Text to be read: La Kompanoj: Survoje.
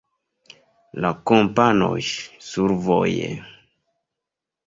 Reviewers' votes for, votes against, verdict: 2, 0, accepted